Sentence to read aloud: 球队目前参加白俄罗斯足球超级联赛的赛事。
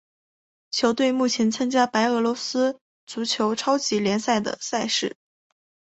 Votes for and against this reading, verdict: 3, 0, accepted